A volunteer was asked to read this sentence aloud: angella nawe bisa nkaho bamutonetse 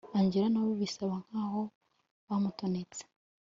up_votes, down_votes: 2, 0